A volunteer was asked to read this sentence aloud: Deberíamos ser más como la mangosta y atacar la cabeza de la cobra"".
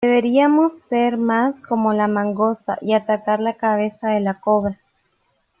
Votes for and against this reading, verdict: 2, 0, accepted